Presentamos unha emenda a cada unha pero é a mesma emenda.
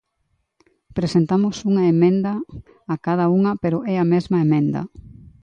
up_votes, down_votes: 2, 0